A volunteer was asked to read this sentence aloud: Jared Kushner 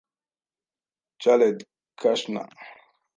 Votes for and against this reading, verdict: 0, 2, rejected